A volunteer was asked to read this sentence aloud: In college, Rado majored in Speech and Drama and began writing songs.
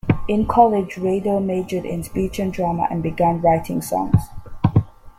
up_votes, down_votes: 2, 0